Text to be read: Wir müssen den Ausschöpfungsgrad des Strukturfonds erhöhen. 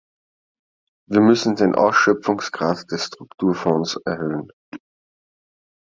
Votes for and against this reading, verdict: 2, 0, accepted